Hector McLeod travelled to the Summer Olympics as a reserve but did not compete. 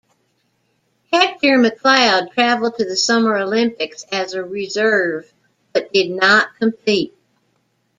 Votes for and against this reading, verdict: 2, 0, accepted